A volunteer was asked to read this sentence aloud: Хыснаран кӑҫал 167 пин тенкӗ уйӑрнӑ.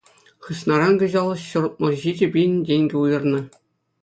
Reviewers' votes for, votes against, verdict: 0, 2, rejected